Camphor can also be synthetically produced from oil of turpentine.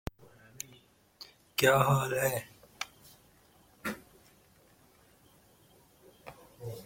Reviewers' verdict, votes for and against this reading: rejected, 0, 2